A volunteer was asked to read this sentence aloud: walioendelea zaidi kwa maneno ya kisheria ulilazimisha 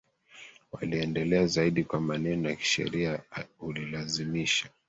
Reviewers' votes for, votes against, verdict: 1, 2, rejected